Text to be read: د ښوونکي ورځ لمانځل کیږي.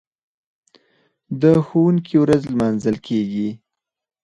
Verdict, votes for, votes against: rejected, 0, 4